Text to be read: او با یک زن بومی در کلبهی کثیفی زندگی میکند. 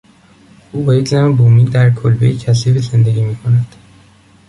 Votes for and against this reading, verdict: 2, 0, accepted